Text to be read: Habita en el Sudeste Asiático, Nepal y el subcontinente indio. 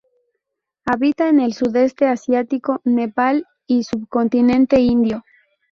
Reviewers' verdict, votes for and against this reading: rejected, 0, 2